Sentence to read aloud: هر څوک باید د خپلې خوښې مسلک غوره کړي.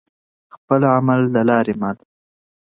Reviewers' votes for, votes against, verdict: 1, 2, rejected